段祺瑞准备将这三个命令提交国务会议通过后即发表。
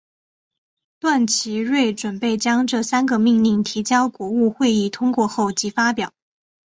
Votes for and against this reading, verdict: 2, 0, accepted